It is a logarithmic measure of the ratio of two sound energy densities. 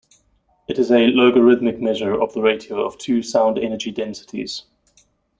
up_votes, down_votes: 2, 0